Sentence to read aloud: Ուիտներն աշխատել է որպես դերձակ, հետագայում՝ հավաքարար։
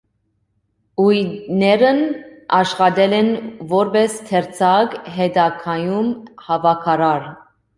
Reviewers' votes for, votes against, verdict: 1, 2, rejected